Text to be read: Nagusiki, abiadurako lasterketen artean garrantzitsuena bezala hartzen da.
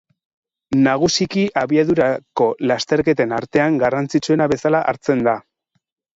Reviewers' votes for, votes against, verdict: 2, 6, rejected